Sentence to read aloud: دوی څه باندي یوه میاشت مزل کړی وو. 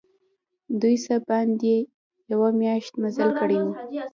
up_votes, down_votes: 1, 2